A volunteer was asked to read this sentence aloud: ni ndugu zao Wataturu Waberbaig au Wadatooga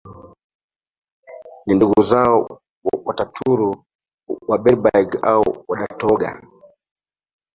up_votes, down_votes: 0, 2